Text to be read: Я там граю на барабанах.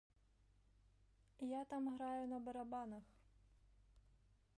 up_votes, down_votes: 1, 2